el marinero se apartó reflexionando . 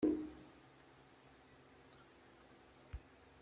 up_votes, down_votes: 0, 3